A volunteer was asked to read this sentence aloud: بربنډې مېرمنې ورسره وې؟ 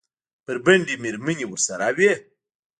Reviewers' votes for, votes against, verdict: 0, 2, rejected